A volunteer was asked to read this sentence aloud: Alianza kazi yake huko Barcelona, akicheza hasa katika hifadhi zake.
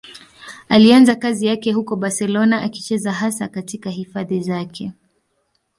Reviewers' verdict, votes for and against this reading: accepted, 2, 0